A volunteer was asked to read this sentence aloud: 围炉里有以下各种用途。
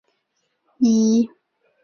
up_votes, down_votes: 0, 4